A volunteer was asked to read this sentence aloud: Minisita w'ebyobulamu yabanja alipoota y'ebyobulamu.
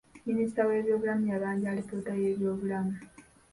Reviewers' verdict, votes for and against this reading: accepted, 2, 1